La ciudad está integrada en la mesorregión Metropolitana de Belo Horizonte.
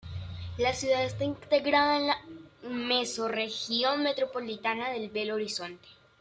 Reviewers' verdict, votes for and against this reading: accepted, 2, 0